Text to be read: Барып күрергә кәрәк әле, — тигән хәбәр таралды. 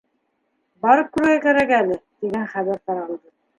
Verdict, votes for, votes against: rejected, 1, 2